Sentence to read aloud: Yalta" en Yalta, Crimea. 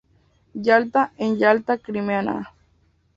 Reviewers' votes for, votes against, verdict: 0, 2, rejected